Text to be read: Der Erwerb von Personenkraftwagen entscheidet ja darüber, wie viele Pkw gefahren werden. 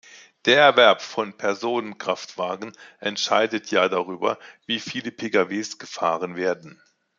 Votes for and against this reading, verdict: 1, 2, rejected